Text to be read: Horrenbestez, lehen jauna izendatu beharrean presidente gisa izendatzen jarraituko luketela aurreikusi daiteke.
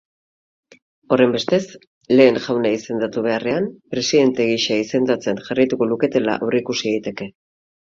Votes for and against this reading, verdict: 6, 0, accepted